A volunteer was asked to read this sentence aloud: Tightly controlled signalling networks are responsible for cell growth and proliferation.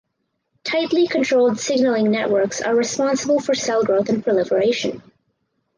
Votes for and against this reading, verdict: 4, 0, accepted